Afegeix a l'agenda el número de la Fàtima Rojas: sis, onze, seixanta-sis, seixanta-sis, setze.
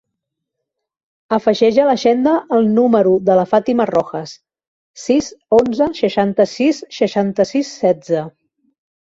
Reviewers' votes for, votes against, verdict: 3, 0, accepted